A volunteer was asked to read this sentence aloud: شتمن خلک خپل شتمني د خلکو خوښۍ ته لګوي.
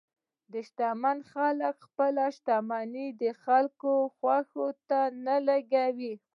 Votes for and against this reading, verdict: 1, 2, rejected